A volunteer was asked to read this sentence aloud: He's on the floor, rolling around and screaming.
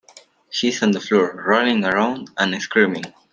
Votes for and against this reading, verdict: 2, 0, accepted